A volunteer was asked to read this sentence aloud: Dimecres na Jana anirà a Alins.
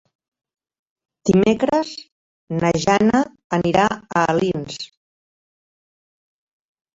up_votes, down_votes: 0, 2